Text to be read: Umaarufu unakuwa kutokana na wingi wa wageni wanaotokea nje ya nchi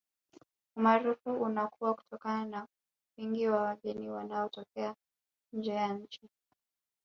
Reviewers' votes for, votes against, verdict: 0, 2, rejected